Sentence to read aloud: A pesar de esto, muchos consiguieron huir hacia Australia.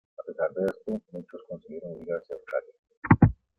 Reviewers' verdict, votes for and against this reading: accepted, 2, 1